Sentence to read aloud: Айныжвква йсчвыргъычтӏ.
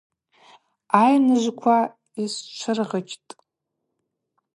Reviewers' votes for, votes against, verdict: 2, 0, accepted